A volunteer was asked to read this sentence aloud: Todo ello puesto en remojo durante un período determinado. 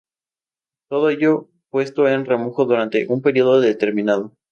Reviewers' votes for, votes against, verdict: 2, 2, rejected